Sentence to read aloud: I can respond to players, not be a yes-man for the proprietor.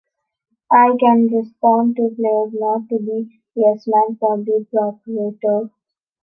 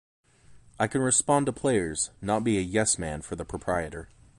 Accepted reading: second